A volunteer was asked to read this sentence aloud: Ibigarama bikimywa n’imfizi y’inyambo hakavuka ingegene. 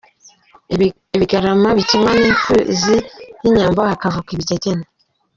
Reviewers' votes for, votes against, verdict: 0, 2, rejected